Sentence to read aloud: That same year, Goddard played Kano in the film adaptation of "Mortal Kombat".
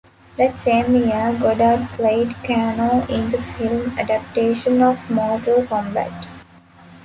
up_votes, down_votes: 0, 2